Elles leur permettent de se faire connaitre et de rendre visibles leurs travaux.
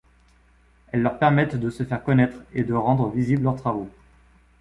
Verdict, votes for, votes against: accepted, 2, 0